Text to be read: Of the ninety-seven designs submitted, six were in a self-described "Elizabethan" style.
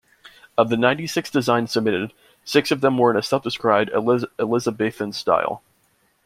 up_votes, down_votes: 1, 2